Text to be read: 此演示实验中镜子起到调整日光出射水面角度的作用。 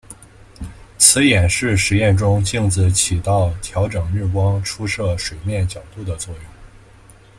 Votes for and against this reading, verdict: 2, 0, accepted